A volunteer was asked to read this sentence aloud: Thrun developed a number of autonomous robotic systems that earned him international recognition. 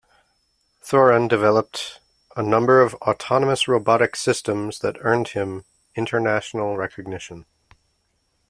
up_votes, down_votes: 2, 0